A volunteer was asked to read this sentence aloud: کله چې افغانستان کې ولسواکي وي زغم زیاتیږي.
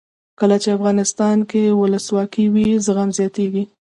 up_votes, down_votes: 2, 0